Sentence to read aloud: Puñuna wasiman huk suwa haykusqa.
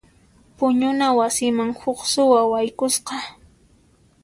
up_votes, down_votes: 2, 0